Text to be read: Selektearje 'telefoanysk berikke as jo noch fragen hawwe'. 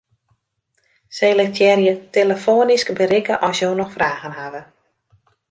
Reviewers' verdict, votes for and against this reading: accepted, 2, 0